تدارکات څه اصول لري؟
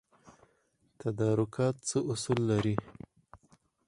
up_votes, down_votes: 2, 4